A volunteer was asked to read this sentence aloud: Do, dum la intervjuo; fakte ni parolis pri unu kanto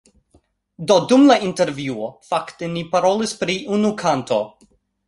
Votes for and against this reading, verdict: 2, 0, accepted